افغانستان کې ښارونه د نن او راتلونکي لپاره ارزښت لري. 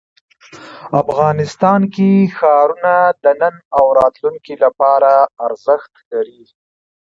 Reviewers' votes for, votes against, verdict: 2, 1, accepted